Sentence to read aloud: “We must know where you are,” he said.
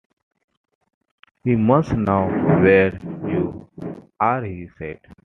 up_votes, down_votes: 2, 0